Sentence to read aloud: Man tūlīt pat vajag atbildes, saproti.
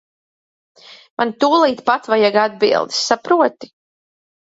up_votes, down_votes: 2, 0